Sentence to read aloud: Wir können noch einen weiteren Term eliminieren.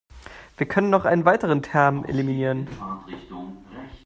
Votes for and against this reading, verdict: 2, 0, accepted